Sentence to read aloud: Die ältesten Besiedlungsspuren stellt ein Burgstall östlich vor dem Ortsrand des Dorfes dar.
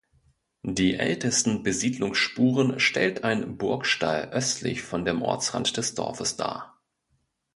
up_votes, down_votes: 1, 2